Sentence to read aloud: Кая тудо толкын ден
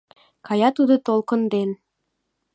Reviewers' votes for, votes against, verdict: 2, 0, accepted